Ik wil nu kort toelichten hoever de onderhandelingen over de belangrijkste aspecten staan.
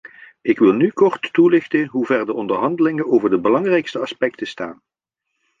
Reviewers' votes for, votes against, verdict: 2, 1, accepted